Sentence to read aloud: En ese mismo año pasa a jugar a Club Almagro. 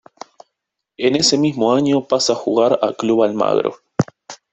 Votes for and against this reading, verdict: 1, 2, rejected